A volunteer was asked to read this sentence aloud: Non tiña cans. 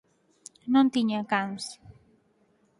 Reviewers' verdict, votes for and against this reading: accepted, 8, 0